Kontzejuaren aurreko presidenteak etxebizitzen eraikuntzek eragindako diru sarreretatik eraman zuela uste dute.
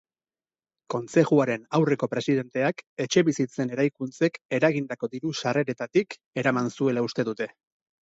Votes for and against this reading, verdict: 10, 0, accepted